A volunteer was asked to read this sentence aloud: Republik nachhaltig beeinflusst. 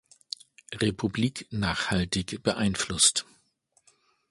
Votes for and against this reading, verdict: 2, 1, accepted